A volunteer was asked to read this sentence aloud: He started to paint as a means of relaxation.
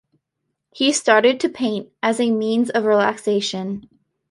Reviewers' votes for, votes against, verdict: 2, 1, accepted